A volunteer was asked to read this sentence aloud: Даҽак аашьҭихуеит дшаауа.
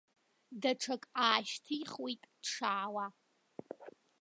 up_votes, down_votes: 0, 2